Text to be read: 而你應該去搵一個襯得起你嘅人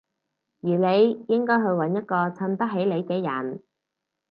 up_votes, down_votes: 4, 0